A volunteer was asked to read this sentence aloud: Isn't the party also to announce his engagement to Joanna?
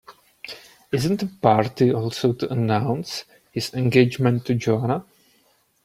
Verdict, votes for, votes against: accepted, 2, 0